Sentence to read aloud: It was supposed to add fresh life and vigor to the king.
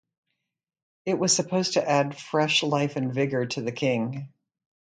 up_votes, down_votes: 0, 2